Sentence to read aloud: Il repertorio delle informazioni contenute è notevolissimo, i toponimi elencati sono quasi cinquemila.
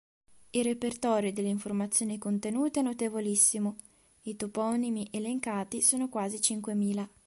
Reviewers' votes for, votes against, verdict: 2, 0, accepted